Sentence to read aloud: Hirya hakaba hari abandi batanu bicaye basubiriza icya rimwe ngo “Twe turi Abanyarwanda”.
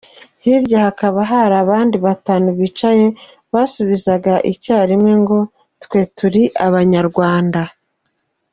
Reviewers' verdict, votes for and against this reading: rejected, 1, 2